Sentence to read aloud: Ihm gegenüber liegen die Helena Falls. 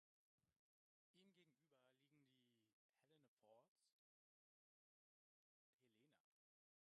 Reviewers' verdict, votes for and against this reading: rejected, 0, 3